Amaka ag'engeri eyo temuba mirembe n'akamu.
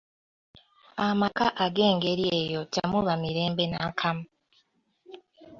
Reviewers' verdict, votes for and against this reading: accepted, 2, 0